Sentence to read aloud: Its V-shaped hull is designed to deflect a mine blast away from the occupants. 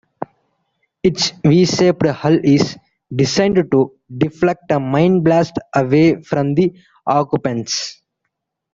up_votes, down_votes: 0, 2